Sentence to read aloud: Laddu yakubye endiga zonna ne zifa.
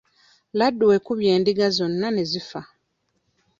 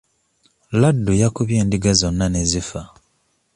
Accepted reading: second